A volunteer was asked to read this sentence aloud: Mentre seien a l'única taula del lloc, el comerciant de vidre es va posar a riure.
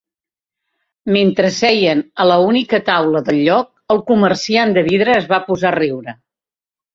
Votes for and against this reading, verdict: 1, 2, rejected